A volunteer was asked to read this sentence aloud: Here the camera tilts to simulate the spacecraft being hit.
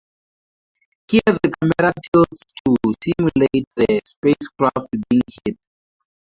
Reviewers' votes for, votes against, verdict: 0, 4, rejected